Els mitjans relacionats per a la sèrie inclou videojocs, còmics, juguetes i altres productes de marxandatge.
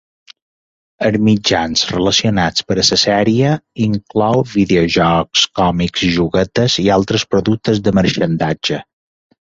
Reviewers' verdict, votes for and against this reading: rejected, 0, 2